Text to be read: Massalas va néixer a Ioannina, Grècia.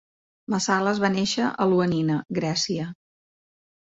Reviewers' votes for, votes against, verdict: 2, 0, accepted